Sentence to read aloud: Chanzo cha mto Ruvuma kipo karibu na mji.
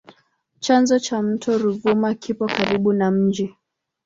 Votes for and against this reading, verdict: 2, 0, accepted